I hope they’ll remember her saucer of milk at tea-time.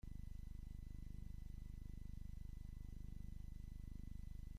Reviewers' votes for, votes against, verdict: 0, 2, rejected